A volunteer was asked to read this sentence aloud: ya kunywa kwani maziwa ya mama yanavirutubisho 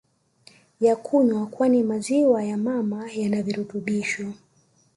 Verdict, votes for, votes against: accepted, 2, 0